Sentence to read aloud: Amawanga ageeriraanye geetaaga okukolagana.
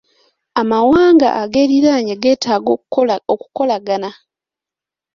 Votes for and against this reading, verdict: 1, 2, rejected